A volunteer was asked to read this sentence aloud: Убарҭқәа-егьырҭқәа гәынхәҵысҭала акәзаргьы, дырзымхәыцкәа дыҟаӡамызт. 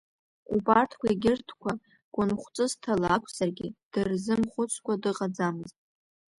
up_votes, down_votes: 2, 0